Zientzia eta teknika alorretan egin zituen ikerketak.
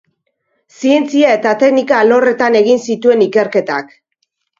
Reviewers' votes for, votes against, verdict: 2, 0, accepted